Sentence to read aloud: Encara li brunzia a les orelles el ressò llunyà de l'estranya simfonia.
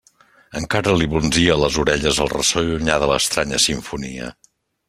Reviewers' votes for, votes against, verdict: 2, 0, accepted